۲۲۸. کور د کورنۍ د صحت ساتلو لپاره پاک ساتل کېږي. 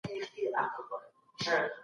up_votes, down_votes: 0, 2